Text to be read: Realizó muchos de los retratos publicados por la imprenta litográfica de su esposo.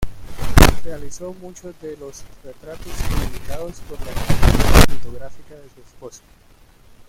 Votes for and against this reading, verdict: 1, 2, rejected